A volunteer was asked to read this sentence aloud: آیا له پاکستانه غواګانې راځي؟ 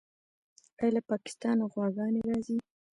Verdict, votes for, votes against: rejected, 1, 2